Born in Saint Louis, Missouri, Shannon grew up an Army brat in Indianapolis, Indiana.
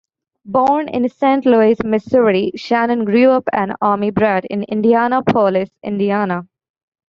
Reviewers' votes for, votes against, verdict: 1, 2, rejected